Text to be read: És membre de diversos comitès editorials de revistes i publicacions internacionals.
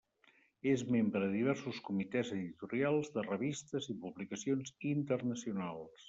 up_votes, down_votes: 3, 0